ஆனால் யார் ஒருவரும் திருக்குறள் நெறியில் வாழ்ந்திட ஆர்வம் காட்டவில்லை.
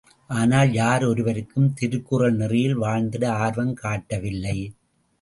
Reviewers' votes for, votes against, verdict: 1, 2, rejected